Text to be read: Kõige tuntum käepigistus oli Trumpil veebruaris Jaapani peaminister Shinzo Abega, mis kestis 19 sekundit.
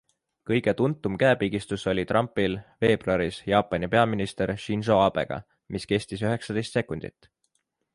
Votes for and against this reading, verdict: 0, 2, rejected